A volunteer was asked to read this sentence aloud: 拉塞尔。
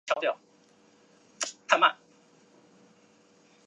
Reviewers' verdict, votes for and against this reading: rejected, 2, 3